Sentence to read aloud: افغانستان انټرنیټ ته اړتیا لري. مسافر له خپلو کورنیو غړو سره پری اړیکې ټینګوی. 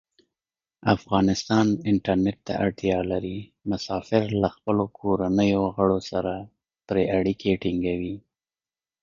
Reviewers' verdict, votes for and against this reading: rejected, 0, 2